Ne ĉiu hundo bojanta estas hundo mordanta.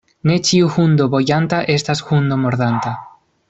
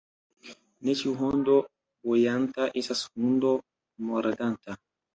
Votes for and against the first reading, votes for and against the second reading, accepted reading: 2, 1, 1, 2, first